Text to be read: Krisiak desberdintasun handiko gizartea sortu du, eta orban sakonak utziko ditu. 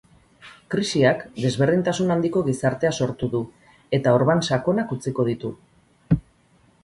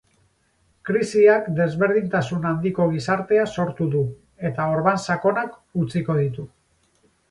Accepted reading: first